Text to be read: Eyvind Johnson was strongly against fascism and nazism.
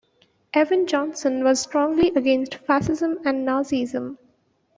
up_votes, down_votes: 1, 2